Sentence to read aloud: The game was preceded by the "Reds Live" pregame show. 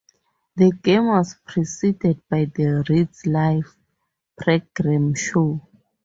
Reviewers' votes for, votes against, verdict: 0, 2, rejected